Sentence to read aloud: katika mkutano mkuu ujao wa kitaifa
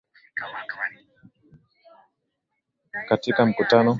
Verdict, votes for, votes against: rejected, 0, 2